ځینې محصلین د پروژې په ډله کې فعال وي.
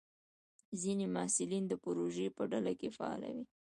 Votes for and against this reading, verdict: 1, 2, rejected